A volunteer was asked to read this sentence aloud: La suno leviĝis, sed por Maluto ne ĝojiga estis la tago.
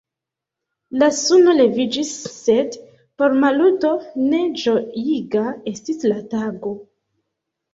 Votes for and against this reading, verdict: 2, 1, accepted